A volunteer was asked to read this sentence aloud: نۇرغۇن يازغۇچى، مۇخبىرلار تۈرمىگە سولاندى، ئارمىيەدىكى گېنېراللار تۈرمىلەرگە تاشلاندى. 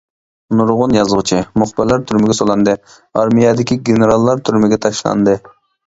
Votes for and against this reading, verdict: 0, 2, rejected